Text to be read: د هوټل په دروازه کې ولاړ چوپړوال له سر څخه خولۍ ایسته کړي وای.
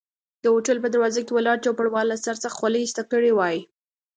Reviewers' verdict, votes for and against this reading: accepted, 2, 0